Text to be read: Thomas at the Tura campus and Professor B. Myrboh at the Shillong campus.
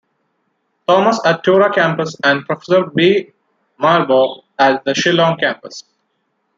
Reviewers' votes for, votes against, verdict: 2, 0, accepted